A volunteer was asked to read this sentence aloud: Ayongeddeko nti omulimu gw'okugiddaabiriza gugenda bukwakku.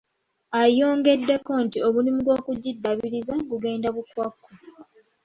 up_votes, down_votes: 3, 0